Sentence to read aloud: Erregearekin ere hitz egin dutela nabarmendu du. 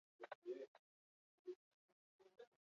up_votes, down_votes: 0, 6